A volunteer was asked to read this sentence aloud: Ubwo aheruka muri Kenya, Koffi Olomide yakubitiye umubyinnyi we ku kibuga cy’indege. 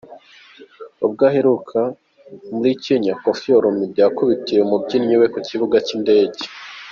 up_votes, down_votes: 2, 0